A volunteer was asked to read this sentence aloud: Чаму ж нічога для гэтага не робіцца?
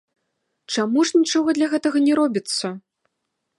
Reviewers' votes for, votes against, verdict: 2, 0, accepted